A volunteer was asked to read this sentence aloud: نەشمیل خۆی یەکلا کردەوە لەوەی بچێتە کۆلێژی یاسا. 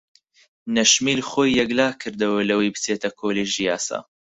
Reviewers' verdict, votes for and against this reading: accepted, 4, 0